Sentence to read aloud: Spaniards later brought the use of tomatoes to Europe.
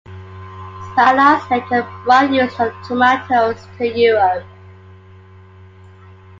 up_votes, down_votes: 2, 1